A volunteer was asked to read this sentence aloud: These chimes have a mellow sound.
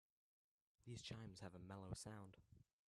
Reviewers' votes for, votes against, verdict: 1, 2, rejected